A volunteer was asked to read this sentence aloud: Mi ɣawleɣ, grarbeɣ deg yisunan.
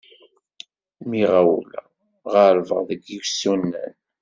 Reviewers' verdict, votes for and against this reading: rejected, 1, 2